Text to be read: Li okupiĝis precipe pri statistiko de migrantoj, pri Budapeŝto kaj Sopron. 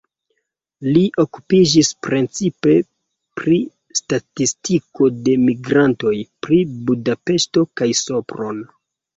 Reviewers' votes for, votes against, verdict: 0, 2, rejected